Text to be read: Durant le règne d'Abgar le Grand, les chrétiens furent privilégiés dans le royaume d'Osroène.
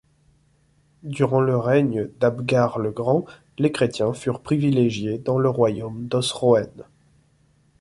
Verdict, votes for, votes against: accepted, 2, 0